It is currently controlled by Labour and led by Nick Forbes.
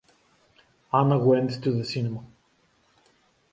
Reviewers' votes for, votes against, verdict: 0, 2, rejected